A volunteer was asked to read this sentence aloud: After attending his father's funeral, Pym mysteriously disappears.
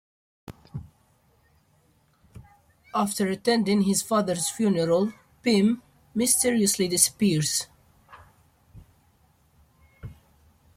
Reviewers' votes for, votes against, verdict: 2, 0, accepted